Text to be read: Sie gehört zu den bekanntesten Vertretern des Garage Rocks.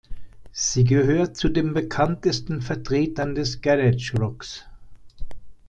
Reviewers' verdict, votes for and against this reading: accepted, 2, 0